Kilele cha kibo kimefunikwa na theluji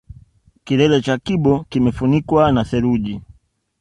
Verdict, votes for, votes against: accepted, 2, 0